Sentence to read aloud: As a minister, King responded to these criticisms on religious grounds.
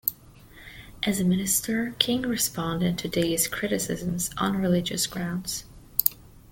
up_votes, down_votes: 2, 0